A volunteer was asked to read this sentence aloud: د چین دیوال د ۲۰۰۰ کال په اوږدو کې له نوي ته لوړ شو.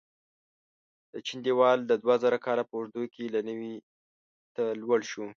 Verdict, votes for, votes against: rejected, 0, 2